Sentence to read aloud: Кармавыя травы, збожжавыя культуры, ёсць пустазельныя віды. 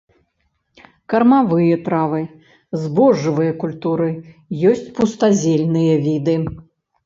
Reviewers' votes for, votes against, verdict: 2, 0, accepted